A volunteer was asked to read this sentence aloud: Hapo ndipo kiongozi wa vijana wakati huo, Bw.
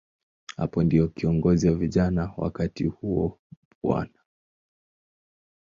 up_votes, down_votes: 3, 1